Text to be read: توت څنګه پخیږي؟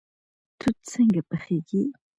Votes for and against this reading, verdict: 2, 1, accepted